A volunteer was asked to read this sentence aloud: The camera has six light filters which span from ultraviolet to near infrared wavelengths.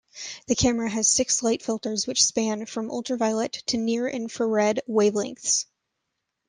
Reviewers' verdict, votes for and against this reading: rejected, 1, 2